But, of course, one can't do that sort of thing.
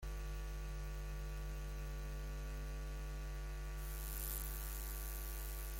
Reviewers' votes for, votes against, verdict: 0, 2, rejected